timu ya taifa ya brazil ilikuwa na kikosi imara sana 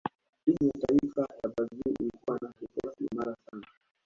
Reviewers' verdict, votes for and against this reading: accepted, 2, 0